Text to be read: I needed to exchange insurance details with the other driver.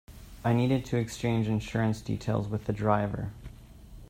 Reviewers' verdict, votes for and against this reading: rejected, 0, 2